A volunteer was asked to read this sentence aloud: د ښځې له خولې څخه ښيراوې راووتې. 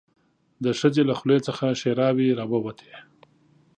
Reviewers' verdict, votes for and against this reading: accepted, 2, 0